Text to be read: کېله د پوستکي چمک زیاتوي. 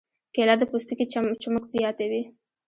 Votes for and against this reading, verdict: 0, 2, rejected